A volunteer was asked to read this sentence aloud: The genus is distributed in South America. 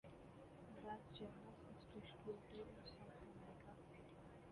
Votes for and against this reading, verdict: 0, 2, rejected